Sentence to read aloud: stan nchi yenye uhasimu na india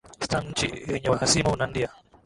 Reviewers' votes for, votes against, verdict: 1, 2, rejected